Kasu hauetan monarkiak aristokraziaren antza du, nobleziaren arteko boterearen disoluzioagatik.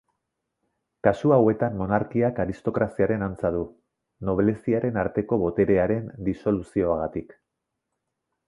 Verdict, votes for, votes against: accepted, 2, 0